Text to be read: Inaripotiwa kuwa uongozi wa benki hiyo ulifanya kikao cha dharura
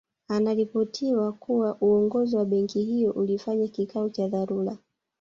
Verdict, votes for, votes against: rejected, 0, 2